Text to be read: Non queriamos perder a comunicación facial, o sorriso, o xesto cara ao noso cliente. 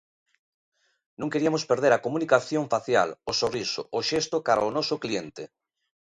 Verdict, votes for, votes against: accepted, 2, 0